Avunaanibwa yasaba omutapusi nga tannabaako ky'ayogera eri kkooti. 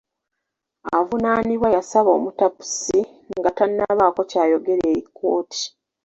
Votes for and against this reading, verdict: 2, 1, accepted